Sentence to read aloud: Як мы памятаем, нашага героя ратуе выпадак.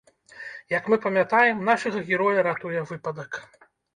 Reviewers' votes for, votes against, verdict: 1, 2, rejected